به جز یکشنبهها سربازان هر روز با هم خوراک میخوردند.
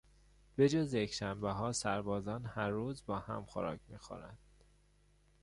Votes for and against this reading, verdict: 1, 2, rejected